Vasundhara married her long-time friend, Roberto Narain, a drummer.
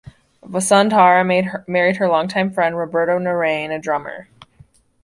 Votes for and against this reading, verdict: 1, 2, rejected